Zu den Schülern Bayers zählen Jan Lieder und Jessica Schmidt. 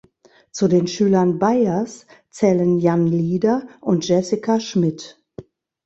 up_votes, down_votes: 1, 2